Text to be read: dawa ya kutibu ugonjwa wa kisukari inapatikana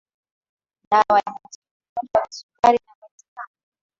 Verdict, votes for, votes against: rejected, 0, 2